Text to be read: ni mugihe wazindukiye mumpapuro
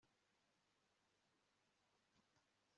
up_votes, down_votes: 1, 2